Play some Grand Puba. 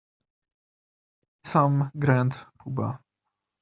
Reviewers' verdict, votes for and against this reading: rejected, 1, 2